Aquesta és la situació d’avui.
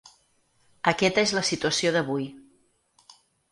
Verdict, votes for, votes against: rejected, 0, 4